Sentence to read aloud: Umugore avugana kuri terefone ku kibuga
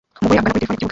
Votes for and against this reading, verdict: 0, 2, rejected